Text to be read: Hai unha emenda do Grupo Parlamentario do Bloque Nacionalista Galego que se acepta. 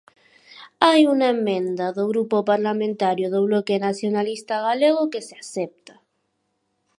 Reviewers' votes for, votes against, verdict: 2, 4, rejected